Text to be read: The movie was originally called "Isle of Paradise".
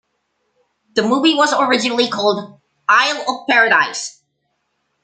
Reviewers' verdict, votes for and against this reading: accepted, 2, 0